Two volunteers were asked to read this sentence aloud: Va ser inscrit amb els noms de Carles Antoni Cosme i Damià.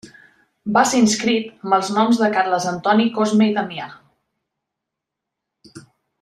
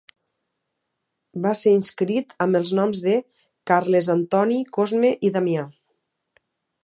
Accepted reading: second